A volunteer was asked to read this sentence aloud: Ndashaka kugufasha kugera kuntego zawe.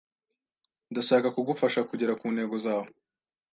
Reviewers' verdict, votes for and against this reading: accepted, 2, 0